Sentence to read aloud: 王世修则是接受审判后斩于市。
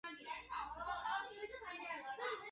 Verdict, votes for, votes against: rejected, 2, 4